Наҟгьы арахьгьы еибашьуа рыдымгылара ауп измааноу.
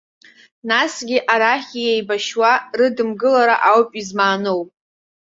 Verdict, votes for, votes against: rejected, 0, 2